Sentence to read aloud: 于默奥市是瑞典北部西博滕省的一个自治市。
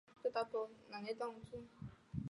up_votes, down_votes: 1, 2